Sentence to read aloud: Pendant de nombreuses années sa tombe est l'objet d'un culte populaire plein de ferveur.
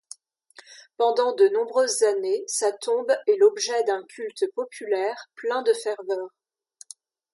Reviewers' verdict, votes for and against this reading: accepted, 2, 0